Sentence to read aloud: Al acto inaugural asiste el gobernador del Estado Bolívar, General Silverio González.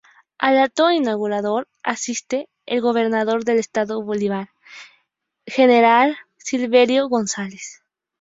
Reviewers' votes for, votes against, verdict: 0, 2, rejected